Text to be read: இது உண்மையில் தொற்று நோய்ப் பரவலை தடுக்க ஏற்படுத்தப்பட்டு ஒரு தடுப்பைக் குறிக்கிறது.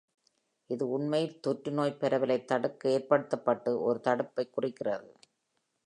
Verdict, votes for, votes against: accepted, 2, 0